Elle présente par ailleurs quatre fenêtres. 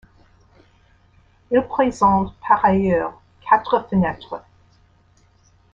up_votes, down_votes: 2, 1